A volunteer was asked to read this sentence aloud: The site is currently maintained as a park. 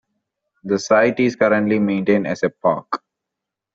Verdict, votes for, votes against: accepted, 2, 0